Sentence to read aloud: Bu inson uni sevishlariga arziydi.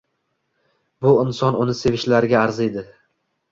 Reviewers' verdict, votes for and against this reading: accepted, 2, 0